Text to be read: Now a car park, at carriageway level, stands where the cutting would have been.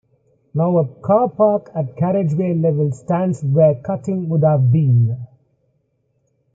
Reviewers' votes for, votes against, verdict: 2, 1, accepted